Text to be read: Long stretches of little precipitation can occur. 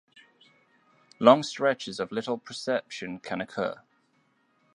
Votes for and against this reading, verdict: 1, 2, rejected